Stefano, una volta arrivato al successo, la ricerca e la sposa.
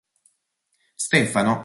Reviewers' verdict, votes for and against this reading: rejected, 0, 4